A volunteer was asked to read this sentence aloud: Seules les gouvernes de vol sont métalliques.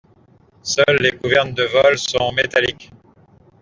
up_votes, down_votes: 2, 0